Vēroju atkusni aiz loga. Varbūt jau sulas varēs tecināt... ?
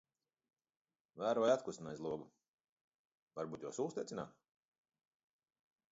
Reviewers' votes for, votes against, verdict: 1, 2, rejected